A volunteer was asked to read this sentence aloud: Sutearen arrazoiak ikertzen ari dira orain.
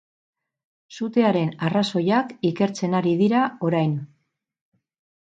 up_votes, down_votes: 6, 0